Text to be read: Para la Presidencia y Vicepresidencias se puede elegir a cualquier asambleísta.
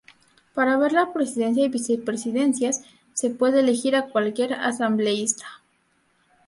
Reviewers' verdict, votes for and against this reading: rejected, 2, 8